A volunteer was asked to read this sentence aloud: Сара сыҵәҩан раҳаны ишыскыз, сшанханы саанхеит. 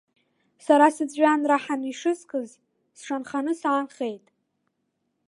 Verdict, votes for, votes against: accepted, 2, 0